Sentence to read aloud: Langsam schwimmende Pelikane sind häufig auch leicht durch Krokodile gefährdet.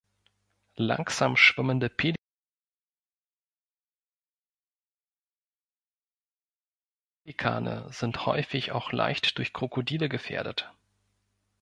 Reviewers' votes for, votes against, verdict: 0, 2, rejected